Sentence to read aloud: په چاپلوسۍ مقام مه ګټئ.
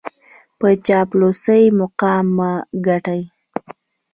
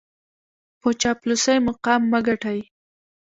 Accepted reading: first